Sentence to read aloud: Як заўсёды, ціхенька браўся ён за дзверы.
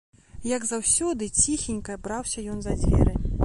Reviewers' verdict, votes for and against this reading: rejected, 1, 2